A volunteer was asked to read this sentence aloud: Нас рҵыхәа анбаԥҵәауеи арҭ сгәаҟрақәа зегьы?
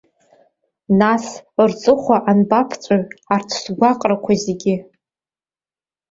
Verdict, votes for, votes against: accepted, 2, 0